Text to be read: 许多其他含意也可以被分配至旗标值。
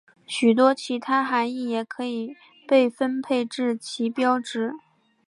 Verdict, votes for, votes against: accepted, 6, 0